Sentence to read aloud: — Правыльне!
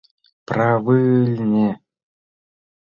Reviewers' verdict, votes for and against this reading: rejected, 0, 2